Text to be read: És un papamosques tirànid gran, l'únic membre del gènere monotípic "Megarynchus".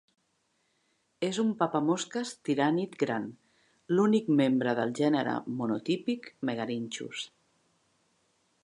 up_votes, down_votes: 2, 0